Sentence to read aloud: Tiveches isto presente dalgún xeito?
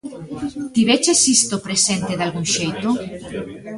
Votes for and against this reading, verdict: 2, 1, accepted